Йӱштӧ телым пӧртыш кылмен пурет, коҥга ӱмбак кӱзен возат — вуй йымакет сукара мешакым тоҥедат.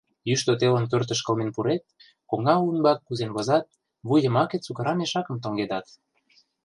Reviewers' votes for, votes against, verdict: 0, 2, rejected